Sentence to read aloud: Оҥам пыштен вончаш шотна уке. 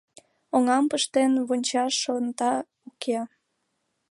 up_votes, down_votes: 1, 2